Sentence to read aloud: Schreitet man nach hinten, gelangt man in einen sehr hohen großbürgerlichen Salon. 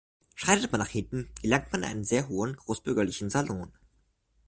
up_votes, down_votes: 1, 2